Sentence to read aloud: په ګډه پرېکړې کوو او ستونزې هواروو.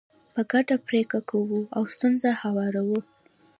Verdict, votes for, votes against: rejected, 1, 2